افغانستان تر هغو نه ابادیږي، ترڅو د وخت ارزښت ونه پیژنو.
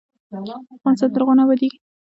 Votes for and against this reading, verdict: 2, 1, accepted